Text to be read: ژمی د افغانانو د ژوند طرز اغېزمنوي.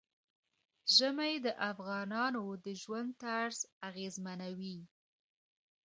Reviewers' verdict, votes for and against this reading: accepted, 2, 0